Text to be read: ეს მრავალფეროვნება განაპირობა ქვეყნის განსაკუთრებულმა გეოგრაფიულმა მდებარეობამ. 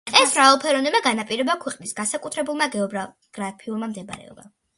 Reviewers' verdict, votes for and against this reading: accepted, 2, 0